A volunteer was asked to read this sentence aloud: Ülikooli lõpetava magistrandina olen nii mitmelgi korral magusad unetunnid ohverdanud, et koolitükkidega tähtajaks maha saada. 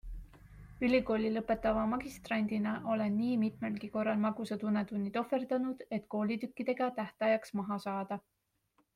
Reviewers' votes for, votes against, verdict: 2, 1, accepted